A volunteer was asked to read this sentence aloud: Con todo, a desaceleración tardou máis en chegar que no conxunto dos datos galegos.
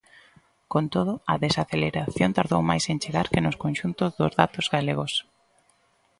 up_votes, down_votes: 0, 2